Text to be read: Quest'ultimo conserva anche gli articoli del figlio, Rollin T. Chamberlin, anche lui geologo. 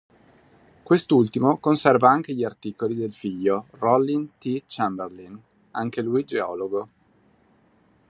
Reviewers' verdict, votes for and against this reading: accepted, 2, 0